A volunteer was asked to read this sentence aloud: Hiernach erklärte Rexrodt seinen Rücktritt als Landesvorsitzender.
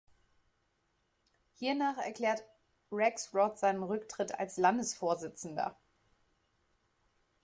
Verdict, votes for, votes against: rejected, 0, 2